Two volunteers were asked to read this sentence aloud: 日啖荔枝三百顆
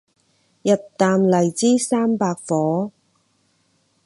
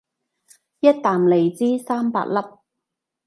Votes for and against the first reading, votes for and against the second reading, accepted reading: 6, 0, 0, 2, first